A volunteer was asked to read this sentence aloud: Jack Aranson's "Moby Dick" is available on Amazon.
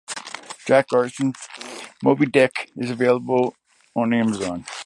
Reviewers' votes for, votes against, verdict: 1, 2, rejected